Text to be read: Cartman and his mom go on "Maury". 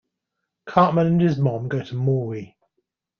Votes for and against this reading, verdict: 1, 2, rejected